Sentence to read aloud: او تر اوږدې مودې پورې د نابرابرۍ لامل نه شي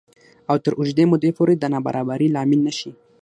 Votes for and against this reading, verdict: 3, 6, rejected